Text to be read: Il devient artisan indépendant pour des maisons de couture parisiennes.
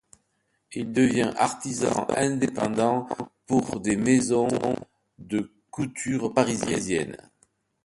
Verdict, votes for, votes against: accepted, 2, 0